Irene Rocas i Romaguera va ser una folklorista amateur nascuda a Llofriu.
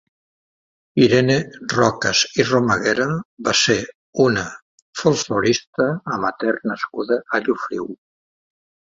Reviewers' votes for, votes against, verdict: 1, 2, rejected